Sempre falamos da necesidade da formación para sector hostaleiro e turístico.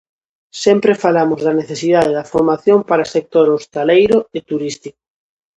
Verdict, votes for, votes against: rejected, 0, 2